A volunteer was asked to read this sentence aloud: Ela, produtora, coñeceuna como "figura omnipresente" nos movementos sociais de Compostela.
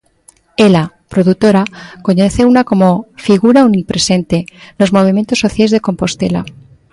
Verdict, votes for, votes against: accepted, 3, 0